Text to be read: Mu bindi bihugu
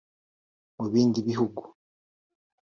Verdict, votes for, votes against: rejected, 0, 2